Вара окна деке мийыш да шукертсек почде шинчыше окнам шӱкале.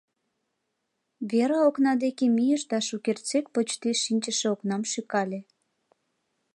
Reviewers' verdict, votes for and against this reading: rejected, 0, 2